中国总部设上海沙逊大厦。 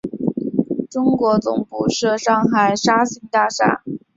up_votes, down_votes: 2, 0